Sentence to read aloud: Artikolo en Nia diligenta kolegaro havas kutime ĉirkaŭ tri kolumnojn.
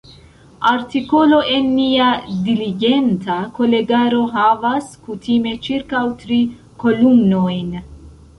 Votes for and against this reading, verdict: 0, 2, rejected